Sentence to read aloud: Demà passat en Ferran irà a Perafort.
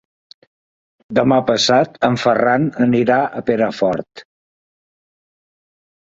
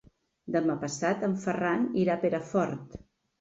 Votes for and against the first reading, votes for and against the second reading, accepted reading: 2, 3, 3, 0, second